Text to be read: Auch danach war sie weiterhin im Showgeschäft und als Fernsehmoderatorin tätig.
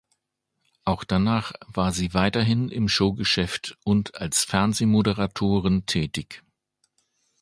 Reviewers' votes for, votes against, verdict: 2, 0, accepted